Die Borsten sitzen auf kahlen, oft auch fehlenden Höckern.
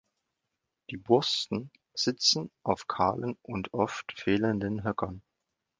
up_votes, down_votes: 1, 2